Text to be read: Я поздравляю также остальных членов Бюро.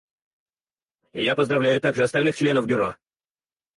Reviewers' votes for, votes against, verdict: 0, 4, rejected